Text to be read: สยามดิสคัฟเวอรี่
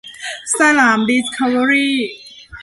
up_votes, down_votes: 0, 2